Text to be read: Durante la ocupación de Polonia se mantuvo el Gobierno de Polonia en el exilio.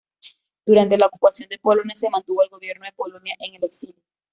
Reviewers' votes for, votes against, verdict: 2, 1, accepted